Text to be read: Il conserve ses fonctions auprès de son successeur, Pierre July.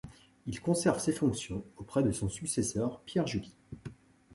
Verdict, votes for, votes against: accepted, 3, 0